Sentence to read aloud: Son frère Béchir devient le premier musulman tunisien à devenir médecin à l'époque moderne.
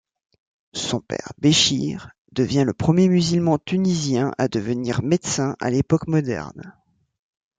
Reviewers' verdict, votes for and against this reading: rejected, 1, 2